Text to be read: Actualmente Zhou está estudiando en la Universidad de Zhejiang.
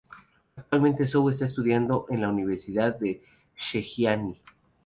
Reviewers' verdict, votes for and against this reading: accepted, 2, 0